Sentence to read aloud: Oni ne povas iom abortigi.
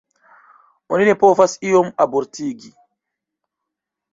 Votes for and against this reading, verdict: 2, 0, accepted